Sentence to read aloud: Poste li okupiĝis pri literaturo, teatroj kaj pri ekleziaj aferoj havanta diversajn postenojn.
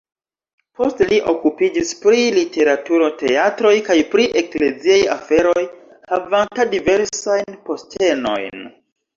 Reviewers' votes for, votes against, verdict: 2, 1, accepted